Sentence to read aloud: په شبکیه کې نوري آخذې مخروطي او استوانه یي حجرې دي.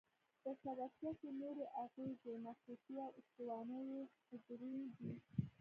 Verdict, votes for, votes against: rejected, 1, 2